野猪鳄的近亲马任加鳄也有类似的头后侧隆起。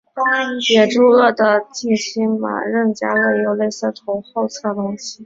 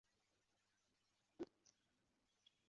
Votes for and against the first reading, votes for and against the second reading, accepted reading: 2, 1, 1, 2, first